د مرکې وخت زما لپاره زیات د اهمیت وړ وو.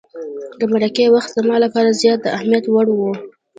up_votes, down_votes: 1, 2